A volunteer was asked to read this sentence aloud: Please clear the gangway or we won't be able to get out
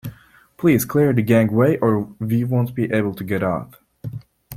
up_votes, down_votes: 2, 0